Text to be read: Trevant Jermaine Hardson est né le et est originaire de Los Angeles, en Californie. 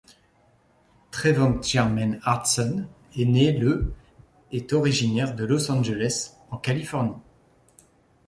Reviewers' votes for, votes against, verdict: 1, 2, rejected